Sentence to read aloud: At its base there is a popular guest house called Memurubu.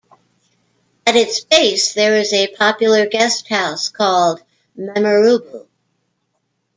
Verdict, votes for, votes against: accepted, 2, 0